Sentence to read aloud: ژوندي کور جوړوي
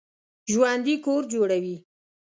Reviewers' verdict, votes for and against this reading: accepted, 2, 0